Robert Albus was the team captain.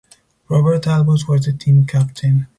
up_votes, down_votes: 2, 0